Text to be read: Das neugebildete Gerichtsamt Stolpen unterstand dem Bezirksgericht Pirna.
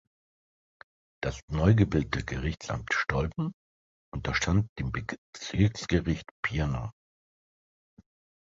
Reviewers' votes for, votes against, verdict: 0, 3, rejected